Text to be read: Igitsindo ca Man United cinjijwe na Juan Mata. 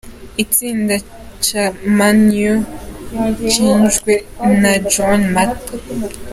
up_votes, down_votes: 0, 2